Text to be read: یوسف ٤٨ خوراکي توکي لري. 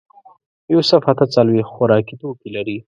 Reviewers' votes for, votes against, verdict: 0, 2, rejected